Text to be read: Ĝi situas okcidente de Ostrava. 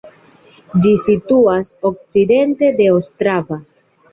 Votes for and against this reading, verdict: 2, 0, accepted